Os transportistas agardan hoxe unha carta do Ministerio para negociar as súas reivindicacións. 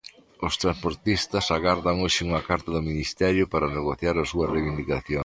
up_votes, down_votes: 0, 2